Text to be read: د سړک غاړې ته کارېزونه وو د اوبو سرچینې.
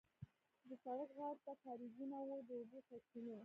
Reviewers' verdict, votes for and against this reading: rejected, 0, 2